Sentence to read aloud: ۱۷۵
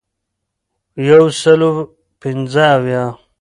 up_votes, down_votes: 0, 2